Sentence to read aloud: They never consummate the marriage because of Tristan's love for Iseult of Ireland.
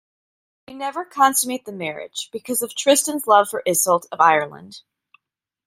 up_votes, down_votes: 2, 0